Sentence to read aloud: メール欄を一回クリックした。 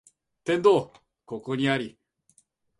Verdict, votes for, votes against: rejected, 0, 2